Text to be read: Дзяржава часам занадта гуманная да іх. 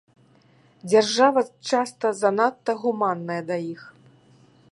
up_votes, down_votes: 0, 2